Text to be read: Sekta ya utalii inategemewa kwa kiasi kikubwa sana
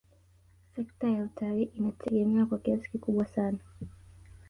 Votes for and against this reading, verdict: 2, 0, accepted